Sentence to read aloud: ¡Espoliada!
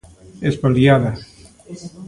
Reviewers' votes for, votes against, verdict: 2, 1, accepted